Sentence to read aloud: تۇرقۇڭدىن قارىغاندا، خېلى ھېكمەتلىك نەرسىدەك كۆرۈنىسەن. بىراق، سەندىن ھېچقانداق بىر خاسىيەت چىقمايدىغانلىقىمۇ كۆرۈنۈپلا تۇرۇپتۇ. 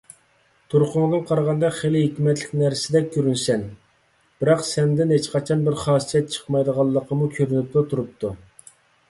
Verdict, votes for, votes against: rejected, 1, 2